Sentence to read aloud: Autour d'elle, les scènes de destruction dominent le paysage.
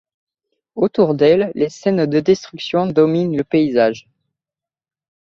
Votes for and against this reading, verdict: 2, 0, accepted